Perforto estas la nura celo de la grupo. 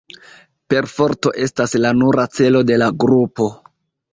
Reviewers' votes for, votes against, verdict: 1, 2, rejected